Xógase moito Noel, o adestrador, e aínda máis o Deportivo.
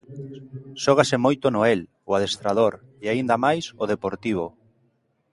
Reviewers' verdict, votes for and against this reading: accepted, 2, 0